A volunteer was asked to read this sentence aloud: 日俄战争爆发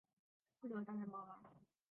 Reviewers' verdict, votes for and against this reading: rejected, 0, 2